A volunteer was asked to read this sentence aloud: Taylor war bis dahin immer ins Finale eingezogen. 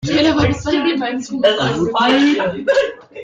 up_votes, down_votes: 0, 2